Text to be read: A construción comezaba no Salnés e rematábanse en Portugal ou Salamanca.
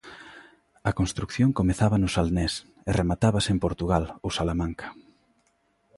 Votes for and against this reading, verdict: 0, 2, rejected